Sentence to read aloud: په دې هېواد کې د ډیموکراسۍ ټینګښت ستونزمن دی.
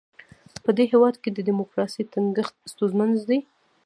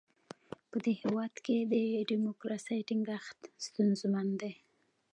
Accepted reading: second